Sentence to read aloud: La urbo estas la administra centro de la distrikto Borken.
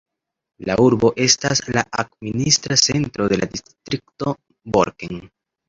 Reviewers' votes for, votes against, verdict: 2, 0, accepted